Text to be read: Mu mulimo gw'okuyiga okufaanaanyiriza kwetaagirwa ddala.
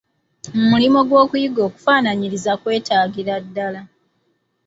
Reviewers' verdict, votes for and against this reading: accepted, 2, 0